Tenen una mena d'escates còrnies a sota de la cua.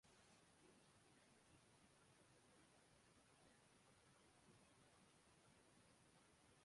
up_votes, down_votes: 0, 2